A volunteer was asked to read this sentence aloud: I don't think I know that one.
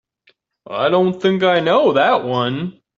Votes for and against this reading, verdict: 2, 1, accepted